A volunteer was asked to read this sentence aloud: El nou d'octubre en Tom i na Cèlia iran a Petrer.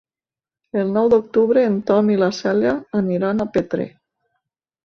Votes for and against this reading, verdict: 1, 2, rejected